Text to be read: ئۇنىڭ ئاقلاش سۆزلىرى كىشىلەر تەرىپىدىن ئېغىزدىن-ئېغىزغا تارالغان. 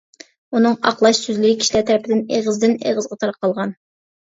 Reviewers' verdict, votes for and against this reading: rejected, 0, 2